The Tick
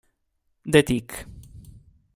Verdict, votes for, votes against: accepted, 2, 0